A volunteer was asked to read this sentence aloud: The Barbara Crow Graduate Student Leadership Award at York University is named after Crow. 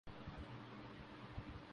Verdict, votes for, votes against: rejected, 0, 2